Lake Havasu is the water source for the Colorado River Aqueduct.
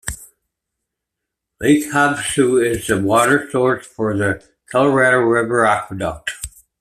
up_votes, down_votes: 2, 1